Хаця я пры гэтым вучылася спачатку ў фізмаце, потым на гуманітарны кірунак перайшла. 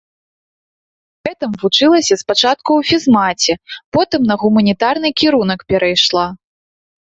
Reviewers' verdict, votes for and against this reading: rejected, 0, 2